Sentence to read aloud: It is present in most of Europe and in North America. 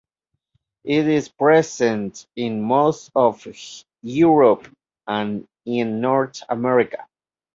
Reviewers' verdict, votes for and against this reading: accepted, 2, 0